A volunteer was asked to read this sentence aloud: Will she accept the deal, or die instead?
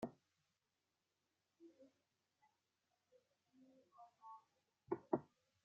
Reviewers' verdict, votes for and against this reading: rejected, 0, 2